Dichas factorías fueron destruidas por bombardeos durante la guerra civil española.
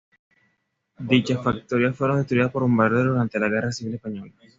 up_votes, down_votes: 2, 0